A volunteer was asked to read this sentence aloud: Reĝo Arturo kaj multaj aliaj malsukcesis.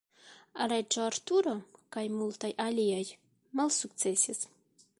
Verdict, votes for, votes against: rejected, 1, 2